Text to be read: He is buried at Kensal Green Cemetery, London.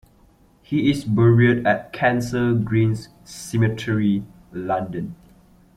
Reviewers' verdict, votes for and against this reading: accepted, 2, 1